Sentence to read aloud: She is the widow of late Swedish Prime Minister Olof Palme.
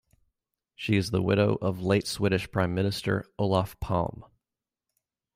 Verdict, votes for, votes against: accepted, 3, 0